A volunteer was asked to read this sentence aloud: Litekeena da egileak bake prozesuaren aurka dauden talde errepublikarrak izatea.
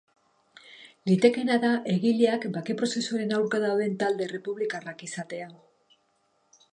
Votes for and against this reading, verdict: 2, 0, accepted